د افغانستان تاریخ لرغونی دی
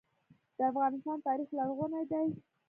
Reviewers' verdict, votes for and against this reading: accepted, 2, 0